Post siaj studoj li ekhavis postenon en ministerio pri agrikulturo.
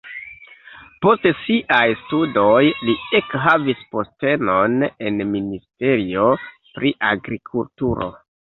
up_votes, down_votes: 0, 2